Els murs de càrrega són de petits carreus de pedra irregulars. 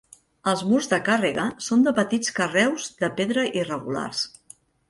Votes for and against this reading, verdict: 3, 0, accepted